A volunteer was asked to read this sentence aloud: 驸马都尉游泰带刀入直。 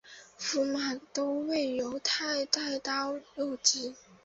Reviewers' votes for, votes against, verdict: 4, 0, accepted